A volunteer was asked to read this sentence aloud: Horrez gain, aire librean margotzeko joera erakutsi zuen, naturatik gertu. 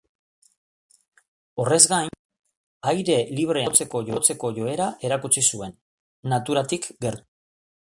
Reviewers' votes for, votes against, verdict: 0, 2, rejected